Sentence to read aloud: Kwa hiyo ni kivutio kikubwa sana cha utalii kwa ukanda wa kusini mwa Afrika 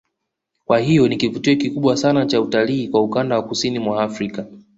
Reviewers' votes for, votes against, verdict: 2, 0, accepted